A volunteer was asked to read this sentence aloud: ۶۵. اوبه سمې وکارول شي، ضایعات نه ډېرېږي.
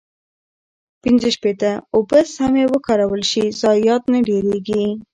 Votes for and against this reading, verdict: 0, 2, rejected